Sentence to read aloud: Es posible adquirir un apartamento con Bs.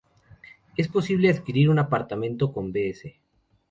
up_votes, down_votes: 2, 0